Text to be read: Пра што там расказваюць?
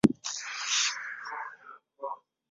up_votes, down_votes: 0, 2